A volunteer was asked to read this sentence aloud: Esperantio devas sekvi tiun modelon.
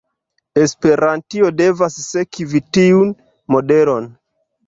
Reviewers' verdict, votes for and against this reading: accepted, 2, 1